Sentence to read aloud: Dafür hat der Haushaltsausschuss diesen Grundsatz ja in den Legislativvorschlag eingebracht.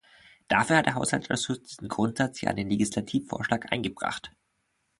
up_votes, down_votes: 0, 2